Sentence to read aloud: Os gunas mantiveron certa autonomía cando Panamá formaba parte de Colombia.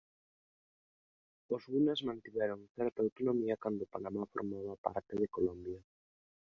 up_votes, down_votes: 0, 2